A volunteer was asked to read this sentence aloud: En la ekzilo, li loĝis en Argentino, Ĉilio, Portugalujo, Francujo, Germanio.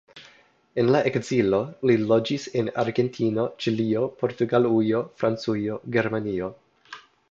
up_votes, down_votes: 2, 0